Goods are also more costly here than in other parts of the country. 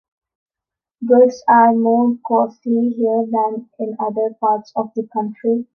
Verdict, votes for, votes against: rejected, 0, 3